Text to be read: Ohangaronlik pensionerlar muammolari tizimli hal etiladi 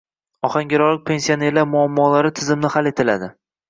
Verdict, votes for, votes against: accepted, 2, 0